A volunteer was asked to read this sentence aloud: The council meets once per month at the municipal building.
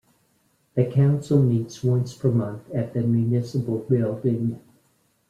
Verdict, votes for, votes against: accepted, 2, 0